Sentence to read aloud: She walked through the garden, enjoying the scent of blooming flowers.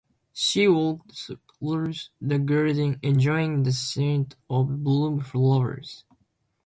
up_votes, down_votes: 2, 1